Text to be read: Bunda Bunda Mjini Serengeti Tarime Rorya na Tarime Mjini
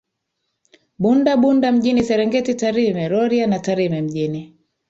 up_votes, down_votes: 7, 0